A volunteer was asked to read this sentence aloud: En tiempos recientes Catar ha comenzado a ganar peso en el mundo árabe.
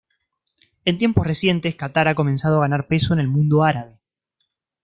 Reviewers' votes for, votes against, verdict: 2, 0, accepted